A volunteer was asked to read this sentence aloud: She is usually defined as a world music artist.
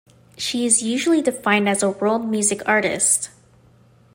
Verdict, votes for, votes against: accepted, 2, 0